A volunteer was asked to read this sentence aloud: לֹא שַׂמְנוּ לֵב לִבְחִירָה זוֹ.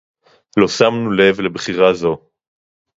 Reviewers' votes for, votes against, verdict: 2, 0, accepted